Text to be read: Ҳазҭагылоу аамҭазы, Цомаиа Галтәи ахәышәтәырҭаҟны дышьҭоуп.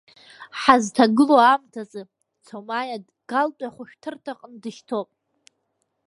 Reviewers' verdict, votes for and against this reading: rejected, 0, 2